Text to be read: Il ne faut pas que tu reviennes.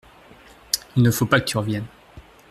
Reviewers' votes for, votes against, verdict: 0, 2, rejected